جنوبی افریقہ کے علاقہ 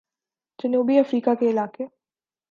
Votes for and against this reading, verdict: 1, 2, rejected